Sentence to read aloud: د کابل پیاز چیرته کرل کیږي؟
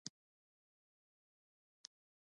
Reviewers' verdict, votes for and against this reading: rejected, 0, 2